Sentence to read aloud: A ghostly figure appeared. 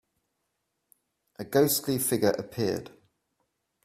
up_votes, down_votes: 4, 0